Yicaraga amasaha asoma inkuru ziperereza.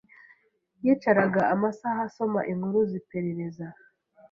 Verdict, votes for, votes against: accepted, 3, 0